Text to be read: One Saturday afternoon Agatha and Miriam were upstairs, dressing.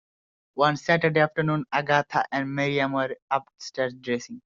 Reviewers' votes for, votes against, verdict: 2, 0, accepted